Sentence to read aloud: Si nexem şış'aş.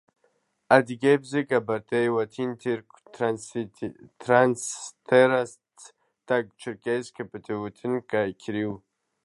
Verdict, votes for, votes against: rejected, 0, 2